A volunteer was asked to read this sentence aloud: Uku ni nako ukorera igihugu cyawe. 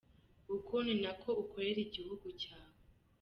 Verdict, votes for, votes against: accepted, 2, 0